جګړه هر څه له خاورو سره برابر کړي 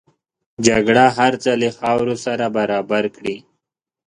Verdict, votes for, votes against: accepted, 2, 0